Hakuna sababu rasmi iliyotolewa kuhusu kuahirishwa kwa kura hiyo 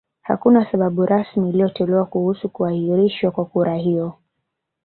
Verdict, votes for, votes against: rejected, 1, 2